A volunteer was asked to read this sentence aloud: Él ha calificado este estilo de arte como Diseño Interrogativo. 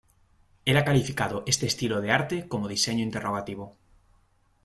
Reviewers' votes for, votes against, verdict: 2, 0, accepted